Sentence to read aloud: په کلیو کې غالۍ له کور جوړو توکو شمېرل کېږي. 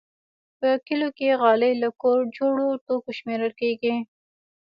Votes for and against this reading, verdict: 1, 2, rejected